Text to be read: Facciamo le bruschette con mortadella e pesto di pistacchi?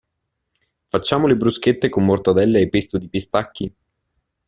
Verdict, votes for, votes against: accepted, 2, 0